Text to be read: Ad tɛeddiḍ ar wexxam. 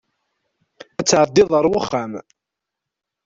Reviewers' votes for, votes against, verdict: 1, 2, rejected